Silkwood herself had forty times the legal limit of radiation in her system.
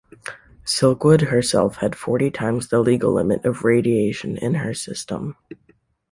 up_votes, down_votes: 2, 0